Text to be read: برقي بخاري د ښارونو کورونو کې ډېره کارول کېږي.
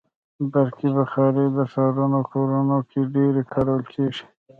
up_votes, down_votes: 3, 2